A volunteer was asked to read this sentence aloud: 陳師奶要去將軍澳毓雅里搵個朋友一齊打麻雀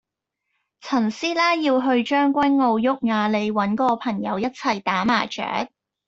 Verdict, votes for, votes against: accepted, 2, 0